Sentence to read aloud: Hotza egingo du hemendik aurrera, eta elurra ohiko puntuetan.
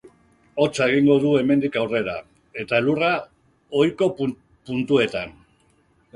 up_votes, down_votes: 1, 3